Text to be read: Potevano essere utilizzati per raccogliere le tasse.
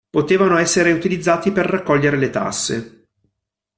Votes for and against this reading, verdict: 2, 0, accepted